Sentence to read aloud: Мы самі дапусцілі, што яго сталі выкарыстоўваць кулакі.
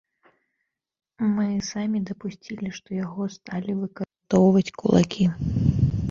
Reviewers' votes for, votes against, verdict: 1, 2, rejected